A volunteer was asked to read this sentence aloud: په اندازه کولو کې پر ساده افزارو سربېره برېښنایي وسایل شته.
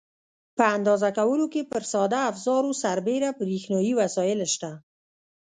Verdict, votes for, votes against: rejected, 1, 2